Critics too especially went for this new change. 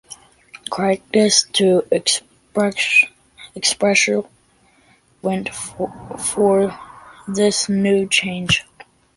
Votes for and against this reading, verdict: 0, 2, rejected